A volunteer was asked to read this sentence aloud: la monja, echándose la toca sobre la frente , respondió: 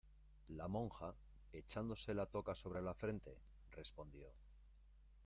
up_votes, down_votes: 2, 0